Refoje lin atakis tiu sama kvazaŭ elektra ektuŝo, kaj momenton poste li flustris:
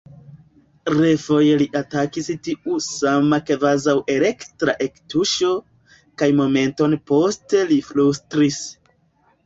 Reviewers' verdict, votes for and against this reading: rejected, 0, 2